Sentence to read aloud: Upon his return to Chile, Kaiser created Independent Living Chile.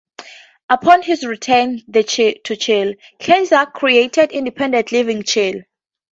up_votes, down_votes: 0, 2